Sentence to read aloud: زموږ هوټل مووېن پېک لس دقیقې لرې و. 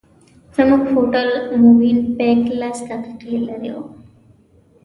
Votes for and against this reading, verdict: 2, 1, accepted